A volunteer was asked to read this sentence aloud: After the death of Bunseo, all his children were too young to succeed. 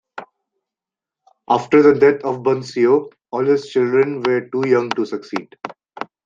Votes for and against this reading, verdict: 2, 0, accepted